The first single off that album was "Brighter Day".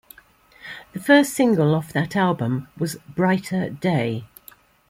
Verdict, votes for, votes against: accepted, 2, 0